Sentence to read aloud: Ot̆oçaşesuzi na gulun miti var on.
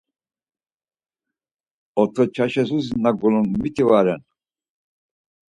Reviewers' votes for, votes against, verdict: 2, 4, rejected